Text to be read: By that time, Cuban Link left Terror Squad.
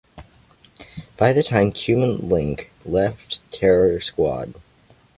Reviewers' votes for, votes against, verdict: 2, 0, accepted